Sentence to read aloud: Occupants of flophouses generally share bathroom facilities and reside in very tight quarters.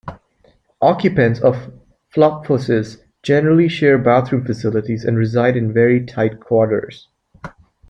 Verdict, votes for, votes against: rejected, 1, 2